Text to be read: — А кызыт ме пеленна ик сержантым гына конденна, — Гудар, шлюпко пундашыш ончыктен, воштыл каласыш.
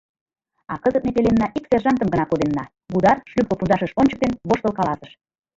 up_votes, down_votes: 0, 2